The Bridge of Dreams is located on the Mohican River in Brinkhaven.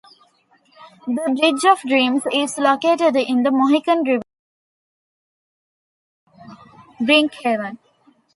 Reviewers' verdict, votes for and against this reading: rejected, 1, 2